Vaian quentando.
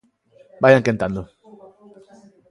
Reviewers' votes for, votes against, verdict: 2, 0, accepted